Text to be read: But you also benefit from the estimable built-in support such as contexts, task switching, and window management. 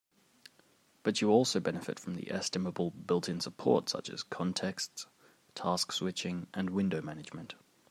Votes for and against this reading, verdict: 3, 0, accepted